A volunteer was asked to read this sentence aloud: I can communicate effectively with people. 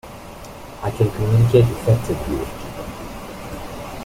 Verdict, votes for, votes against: rejected, 1, 2